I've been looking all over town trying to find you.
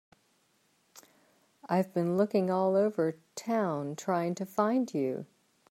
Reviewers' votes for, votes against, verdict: 3, 1, accepted